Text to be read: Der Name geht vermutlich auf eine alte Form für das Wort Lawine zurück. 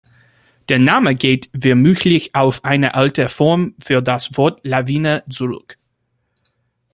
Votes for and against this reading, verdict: 3, 2, accepted